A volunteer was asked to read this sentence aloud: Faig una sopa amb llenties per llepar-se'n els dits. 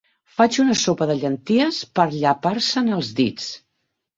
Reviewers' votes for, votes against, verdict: 3, 9, rejected